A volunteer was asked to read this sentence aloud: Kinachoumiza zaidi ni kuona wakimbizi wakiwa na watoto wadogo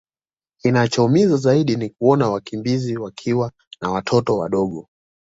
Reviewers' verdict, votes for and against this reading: accepted, 2, 0